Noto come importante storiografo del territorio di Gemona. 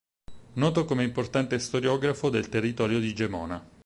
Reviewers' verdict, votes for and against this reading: accepted, 4, 0